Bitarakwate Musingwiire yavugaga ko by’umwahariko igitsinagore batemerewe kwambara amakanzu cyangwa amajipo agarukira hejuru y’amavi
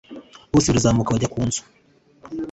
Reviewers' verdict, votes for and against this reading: rejected, 1, 2